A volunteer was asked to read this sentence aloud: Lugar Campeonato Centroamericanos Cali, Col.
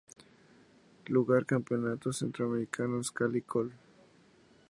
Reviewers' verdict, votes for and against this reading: accepted, 2, 0